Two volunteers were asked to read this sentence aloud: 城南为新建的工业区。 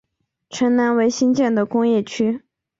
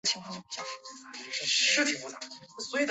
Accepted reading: first